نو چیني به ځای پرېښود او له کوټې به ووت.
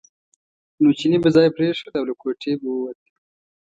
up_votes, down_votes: 2, 0